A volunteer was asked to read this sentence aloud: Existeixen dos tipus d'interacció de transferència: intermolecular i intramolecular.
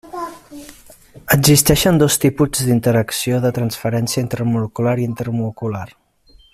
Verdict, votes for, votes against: rejected, 0, 2